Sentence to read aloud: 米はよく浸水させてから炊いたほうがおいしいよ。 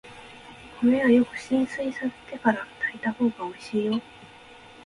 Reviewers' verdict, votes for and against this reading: accepted, 2, 1